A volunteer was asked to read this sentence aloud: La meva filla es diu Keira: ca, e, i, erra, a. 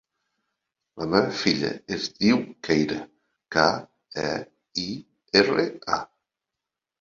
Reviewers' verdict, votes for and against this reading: rejected, 1, 2